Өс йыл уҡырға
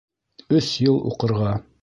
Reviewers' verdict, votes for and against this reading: accepted, 2, 0